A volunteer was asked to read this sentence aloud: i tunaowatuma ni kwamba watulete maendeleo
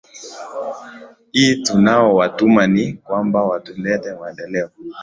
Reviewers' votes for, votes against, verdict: 2, 0, accepted